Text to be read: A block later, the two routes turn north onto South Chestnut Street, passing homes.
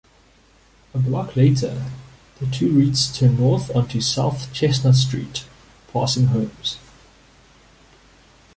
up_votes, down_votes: 0, 2